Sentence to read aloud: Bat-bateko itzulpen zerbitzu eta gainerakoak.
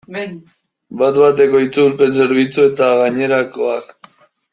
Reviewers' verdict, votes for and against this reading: rejected, 0, 2